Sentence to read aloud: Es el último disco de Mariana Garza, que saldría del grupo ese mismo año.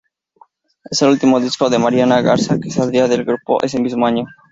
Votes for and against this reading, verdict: 2, 0, accepted